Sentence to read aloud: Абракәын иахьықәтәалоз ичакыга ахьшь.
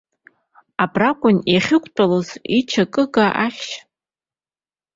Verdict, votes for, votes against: accepted, 2, 1